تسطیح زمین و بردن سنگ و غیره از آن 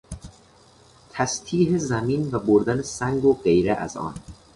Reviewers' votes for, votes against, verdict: 2, 0, accepted